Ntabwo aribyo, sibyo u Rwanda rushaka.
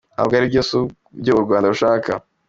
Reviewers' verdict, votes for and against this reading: accepted, 2, 0